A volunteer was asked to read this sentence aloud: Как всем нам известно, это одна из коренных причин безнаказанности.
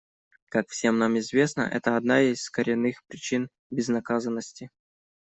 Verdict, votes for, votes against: accepted, 2, 0